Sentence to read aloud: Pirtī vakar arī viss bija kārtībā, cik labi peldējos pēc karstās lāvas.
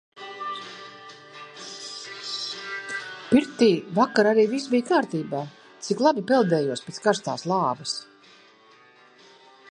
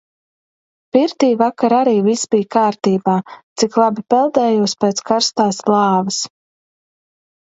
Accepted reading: second